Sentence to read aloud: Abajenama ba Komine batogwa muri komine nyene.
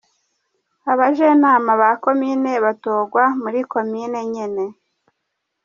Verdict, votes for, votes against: accepted, 2, 0